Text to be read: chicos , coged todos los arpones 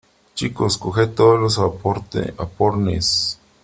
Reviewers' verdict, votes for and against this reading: rejected, 0, 3